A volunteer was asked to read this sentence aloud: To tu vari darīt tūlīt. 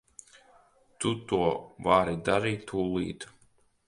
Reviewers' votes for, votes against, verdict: 2, 0, accepted